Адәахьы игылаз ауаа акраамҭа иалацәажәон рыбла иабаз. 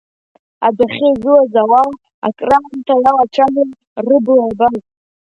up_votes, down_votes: 2, 1